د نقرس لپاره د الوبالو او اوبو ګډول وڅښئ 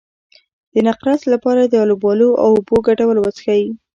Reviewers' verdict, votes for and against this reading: rejected, 1, 2